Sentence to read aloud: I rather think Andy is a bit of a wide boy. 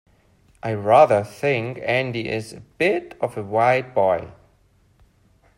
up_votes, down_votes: 2, 0